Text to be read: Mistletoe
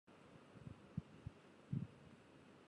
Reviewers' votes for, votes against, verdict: 0, 4, rejected